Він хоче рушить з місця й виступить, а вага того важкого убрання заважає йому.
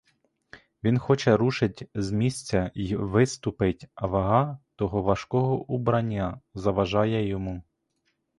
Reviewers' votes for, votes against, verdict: 0, 2, rejected